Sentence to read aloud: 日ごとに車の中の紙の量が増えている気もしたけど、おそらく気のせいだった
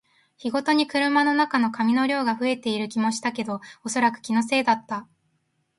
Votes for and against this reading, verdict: 2, 0, accepted